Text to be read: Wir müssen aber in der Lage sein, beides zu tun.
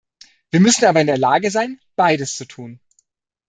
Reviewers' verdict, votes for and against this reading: accepted, 2, 1